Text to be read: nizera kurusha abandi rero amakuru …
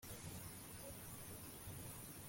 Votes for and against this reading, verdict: 0, 2, rejected